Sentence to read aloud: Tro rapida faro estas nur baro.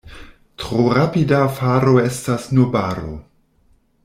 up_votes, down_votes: 0, 2